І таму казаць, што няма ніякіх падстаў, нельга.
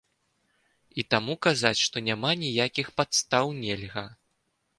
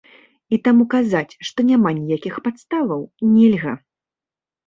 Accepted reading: first